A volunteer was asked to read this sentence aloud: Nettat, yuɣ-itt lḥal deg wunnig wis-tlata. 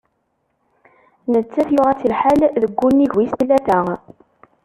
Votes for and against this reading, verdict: 1, 2, rejected